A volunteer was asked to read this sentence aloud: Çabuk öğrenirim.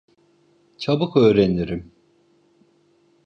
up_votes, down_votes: 2, 0